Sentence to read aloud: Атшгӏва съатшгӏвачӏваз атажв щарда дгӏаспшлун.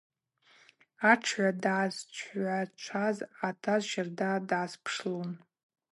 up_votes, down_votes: 2, 2